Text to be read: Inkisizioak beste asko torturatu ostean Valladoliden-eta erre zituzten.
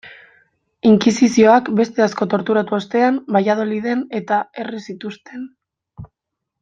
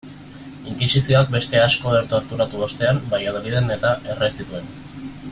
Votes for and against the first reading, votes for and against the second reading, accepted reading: 2, 1, 0, 2, first